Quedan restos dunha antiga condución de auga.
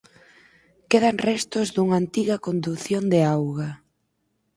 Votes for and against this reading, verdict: 4, 0, accepted